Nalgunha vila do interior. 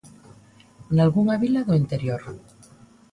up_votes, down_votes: 2, 0